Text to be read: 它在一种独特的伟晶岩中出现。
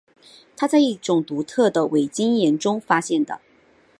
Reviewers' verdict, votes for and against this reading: rejected, 0, 2